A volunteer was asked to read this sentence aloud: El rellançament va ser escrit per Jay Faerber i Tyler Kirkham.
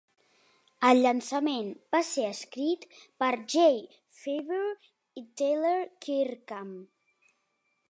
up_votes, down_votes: 0, 2